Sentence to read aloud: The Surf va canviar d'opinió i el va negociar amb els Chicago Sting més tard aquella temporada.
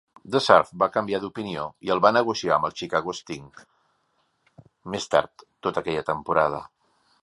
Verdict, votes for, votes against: rejected, 0, 2